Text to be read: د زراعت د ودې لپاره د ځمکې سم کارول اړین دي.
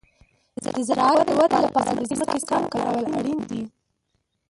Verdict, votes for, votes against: rejected, 1, 2